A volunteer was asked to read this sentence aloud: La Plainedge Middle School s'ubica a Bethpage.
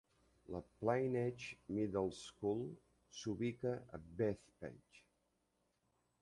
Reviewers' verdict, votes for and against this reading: rejected, 0, 2